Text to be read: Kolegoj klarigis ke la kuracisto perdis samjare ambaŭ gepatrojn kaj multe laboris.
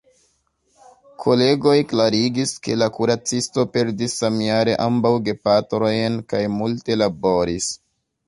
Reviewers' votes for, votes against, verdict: 1, 2, rejected